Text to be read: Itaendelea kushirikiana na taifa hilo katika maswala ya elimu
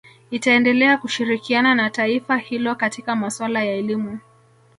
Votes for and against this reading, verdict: 3, 0, accepted